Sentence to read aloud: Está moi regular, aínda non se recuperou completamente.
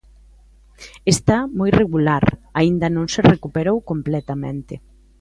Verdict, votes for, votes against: accepted, 3, 0